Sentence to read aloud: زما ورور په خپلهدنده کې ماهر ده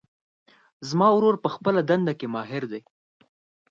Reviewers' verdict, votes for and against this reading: accepted, 4, 0